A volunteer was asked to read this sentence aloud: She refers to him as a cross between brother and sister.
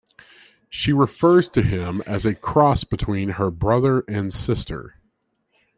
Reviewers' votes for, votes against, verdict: 0, 2, rejected